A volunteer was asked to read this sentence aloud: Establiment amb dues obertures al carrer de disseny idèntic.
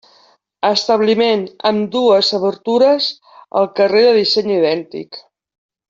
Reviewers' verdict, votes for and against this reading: accepted, 2, 1